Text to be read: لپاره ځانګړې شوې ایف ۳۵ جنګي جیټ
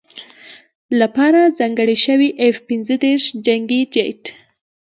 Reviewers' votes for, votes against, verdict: 0, 2, rejected